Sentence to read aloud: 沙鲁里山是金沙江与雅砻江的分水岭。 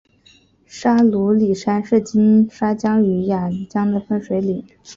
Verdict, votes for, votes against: rejected, 0, 2